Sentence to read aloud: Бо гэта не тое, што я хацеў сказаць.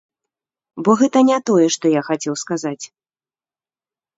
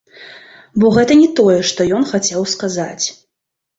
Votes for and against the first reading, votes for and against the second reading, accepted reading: 3, 0, 0, 2, first